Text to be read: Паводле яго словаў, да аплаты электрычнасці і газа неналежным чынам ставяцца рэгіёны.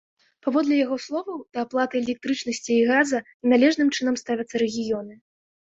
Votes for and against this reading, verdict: 2, 1, accepted